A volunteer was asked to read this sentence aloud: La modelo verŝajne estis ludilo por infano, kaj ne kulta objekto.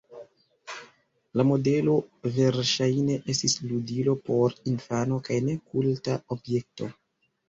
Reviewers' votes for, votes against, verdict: 1, 2, rejected